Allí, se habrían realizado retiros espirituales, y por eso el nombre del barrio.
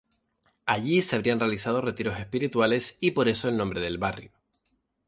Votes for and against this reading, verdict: 2, 0, accepted